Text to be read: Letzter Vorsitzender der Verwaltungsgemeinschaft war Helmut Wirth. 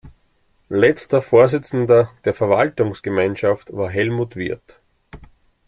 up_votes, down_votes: 2, 0